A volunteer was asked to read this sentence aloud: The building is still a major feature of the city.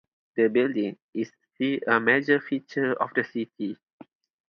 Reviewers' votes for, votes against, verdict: 2, 2, rejected